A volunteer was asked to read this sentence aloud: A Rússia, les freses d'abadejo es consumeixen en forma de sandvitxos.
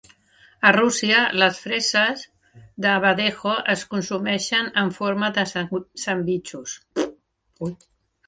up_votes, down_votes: 1, 2